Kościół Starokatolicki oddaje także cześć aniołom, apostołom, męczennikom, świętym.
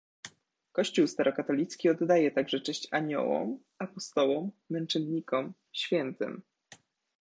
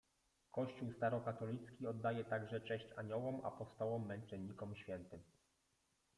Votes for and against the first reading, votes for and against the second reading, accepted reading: 2, 1, 1, 2, first